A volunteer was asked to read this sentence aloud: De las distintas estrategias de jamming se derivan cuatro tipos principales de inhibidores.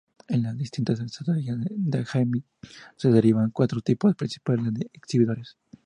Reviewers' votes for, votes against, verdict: 0, 2, rejected